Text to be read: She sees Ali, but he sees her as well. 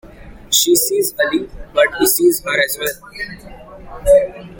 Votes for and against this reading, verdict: 1, 2, rejected